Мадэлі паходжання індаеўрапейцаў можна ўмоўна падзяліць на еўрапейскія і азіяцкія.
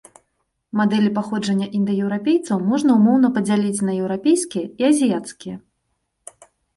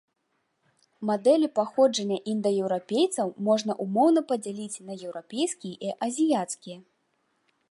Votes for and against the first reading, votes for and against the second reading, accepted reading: 2, 0, 1, 2, first